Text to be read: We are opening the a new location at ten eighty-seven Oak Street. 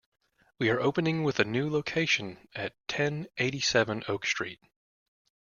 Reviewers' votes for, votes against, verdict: 0, 2, rejected